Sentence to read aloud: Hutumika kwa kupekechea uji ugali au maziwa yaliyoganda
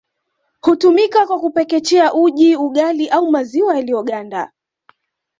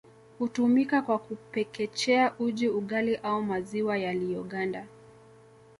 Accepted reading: second